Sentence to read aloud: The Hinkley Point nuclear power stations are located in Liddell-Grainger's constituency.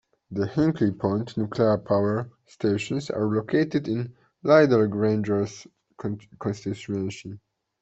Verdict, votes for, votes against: rejected, 1, 2